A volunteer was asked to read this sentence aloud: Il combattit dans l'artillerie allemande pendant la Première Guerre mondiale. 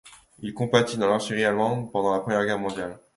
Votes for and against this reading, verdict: 2, 1, accepted